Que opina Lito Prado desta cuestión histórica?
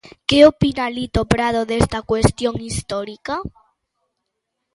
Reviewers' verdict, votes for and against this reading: accepted, 2, 0